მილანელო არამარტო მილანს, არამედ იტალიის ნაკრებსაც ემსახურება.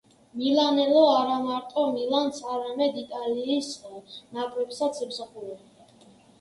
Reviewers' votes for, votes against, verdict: 1, 2, rejected